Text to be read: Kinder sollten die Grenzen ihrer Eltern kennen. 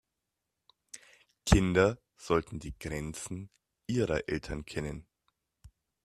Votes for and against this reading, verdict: 2, 0, accepted